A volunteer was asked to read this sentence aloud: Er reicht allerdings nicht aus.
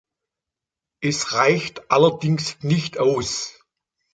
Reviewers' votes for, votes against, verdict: 0, 2, rejected